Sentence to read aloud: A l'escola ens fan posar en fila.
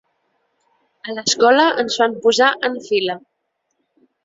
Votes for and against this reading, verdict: 3, 2, accepted